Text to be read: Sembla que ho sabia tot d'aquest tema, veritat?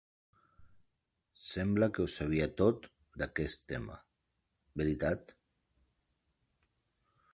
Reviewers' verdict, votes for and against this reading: accepted, 5, 0